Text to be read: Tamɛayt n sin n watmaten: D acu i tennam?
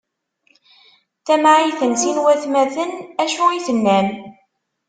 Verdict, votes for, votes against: rejected, 0, 2